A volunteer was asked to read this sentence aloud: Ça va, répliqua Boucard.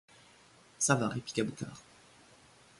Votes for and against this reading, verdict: 2, 0, accepted